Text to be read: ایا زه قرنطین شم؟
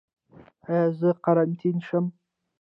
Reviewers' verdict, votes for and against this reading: accepted, 2, 0